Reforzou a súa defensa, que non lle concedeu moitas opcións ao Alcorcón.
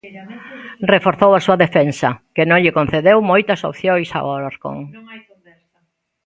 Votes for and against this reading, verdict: 0, 2, rejected